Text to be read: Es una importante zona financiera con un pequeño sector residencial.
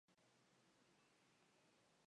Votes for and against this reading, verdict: 0, 2, rejected